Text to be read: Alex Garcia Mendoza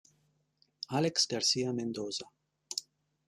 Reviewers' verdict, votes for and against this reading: accepted, 2, 0